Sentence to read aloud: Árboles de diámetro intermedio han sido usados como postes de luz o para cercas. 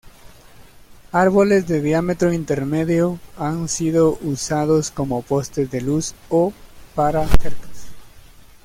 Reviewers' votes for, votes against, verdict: 1, 2, rejected